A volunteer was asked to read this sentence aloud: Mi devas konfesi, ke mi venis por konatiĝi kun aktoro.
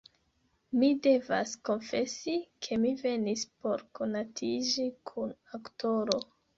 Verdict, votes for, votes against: accepted, 2, 0